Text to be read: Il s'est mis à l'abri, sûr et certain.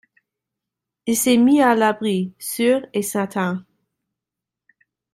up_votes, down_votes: 2, 0